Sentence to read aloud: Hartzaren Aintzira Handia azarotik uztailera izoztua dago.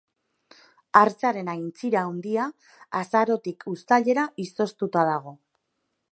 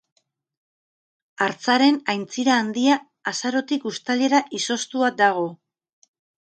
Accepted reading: second